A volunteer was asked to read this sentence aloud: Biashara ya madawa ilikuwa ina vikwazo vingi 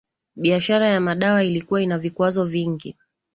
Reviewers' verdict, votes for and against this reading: accepted, 14, 0